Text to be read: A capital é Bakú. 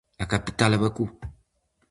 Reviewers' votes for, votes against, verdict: 4, 0, accepted